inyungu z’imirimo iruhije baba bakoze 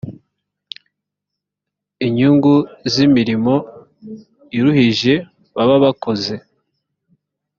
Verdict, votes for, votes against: accepted, 3, 0